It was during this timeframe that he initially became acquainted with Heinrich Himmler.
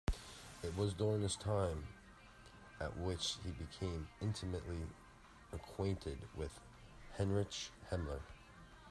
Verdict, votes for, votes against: rejected, 0, 2